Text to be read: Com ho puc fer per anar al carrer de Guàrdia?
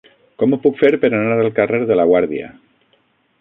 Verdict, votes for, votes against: rejected, 0, 6